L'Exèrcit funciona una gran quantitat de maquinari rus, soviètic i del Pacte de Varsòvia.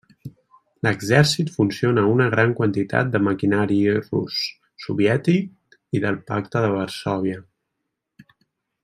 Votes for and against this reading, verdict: 1, 2, rejected